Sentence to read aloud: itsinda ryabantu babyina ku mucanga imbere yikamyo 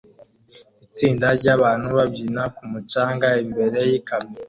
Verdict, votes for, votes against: accepted, 2, 0